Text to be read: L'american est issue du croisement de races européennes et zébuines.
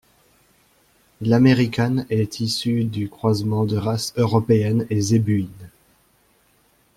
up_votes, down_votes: 0, 2